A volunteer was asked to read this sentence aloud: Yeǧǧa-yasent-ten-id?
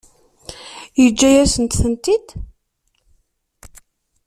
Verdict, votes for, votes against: rejected, 0, 2